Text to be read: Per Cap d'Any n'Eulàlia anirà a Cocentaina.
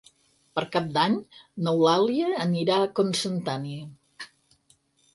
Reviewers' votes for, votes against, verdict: 0, 4, rejected